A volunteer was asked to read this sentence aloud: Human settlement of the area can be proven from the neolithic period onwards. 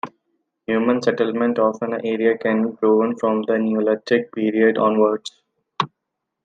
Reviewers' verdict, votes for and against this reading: accepted, 2, 1